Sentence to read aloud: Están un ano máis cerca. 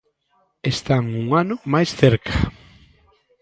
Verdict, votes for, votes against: accepted, 2, 0